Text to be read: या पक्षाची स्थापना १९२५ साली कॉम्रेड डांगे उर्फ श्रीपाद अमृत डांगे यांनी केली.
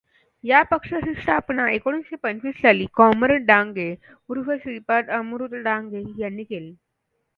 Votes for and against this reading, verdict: 0, 2, rejected